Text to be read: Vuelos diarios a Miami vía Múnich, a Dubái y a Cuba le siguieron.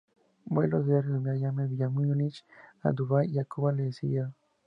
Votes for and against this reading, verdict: 2, 0, accepted